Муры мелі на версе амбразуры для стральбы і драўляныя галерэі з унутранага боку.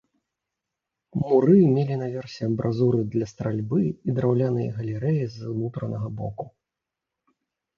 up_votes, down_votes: 2, 0